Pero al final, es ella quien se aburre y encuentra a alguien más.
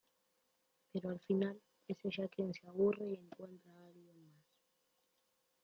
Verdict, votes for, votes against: rejected, 0, 2